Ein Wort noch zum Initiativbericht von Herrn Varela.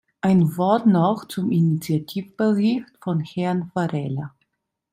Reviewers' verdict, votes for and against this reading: accepted, 2, 1